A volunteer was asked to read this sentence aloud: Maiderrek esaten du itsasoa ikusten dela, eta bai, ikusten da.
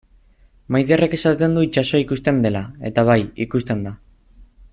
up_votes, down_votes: 2, 0